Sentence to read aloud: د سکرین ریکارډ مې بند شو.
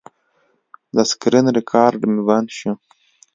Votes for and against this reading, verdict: 2, 0, accepted